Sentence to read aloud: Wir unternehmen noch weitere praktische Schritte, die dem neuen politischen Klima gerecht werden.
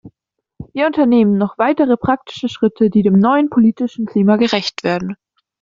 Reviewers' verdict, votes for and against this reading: accepted, 2, 0